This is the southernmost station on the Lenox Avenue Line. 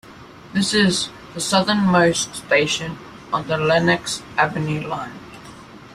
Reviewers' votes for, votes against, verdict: 2, 0, accepted